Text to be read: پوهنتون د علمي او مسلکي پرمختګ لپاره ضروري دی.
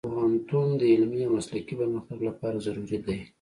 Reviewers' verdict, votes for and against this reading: accepted, 2, 0